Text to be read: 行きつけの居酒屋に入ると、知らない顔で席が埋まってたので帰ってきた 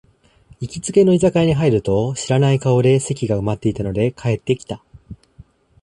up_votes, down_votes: 0, 2